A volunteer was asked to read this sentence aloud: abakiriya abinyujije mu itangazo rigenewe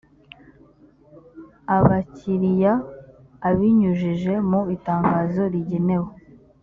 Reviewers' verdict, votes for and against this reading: accepted, 2, 1